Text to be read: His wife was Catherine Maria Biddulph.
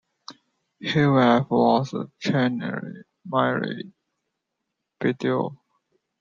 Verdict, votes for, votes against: accepted, 2, 1